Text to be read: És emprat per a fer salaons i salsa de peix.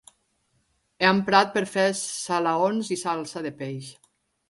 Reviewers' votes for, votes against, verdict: 1, 2, rejected